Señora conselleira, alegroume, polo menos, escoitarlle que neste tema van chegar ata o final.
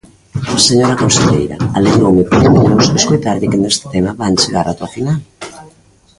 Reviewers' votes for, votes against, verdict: 1, 3, rejected